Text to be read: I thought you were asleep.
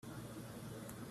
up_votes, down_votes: 0, 2